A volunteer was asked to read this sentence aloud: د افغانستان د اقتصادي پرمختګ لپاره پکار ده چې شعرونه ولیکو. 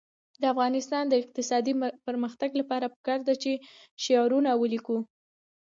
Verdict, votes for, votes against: rejected, 1, 2